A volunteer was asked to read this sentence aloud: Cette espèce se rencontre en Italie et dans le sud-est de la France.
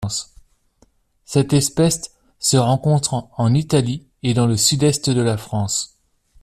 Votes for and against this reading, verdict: 2, 0, accepted